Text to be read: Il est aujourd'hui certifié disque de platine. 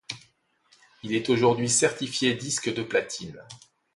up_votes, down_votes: 2, 0